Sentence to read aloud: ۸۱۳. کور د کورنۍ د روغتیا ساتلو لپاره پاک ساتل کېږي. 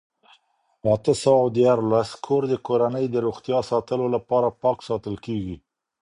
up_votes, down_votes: 0, 2